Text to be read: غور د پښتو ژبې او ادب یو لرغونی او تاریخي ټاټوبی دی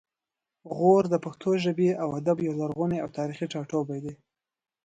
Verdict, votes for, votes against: accepted, 2, 0